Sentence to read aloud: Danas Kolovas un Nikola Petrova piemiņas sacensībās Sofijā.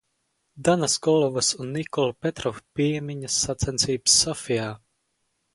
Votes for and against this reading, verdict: 0, 4, rejected